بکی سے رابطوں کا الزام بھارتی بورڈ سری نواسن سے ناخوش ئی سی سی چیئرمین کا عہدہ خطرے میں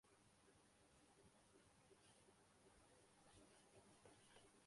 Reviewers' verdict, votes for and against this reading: rejected, 0, 2